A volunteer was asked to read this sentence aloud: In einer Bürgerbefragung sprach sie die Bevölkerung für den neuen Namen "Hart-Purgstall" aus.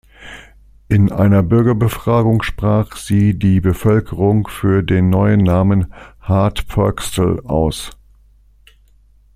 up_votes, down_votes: 3, 0